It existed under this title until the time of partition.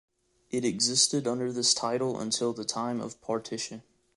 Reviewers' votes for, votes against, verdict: 2, 0, accepted